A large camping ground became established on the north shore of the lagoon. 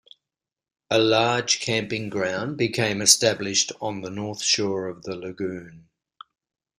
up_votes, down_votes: 2, 0